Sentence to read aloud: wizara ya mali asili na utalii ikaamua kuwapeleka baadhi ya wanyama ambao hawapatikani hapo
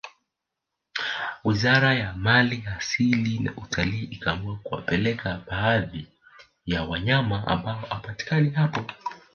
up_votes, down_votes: 1, 2